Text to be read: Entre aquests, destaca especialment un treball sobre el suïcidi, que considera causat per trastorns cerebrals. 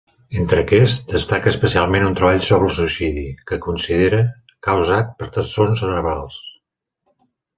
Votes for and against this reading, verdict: 0, 2, rejected